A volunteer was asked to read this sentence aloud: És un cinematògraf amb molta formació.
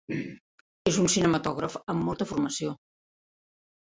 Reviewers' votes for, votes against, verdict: 3, 0, accepted